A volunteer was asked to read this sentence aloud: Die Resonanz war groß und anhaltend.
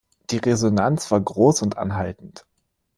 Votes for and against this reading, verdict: 2, 0, accepted